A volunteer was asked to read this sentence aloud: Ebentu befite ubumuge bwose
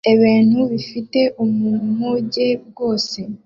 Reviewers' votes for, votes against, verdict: 0, 2, rejected